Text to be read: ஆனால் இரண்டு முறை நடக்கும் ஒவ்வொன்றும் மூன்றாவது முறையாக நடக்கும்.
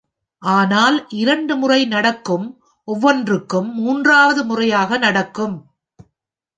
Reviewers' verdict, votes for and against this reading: accepted, 2, 0